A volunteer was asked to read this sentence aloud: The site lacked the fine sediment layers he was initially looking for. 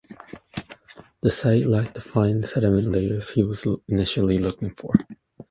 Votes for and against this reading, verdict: 0, 2, rejected